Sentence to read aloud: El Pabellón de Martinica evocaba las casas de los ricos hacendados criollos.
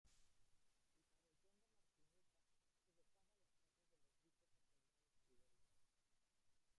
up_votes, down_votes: 0, 2